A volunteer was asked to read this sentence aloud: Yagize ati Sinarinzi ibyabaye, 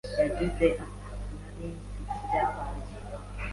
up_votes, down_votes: 2, 1